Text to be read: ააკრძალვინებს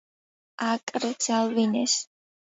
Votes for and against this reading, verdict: 0, 2, rejected